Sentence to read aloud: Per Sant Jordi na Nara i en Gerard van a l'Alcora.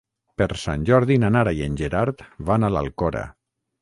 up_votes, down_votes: 6, 0